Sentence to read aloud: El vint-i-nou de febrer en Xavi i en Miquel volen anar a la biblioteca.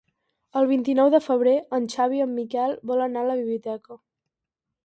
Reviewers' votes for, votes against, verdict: 0, 4, rejected